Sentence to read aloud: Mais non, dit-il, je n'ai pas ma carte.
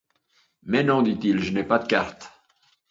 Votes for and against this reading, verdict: 0, 2, rejected